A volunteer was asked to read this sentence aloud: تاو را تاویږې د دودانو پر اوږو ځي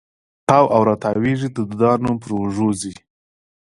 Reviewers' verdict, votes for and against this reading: rejected, 0, 2